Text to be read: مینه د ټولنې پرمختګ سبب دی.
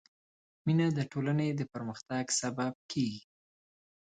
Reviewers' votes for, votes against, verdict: 1, 3, rejected